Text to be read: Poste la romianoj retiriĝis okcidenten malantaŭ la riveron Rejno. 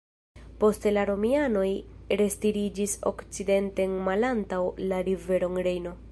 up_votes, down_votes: 0, 2